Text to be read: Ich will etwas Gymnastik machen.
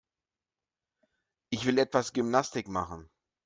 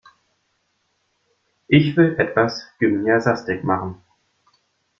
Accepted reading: first